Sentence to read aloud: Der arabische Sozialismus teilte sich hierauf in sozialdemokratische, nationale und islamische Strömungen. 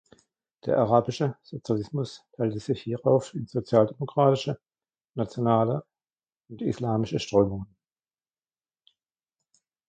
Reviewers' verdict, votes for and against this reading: accepted, 2, 1